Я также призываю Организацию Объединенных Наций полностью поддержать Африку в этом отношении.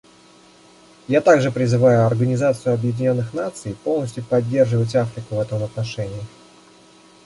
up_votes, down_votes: 0, 2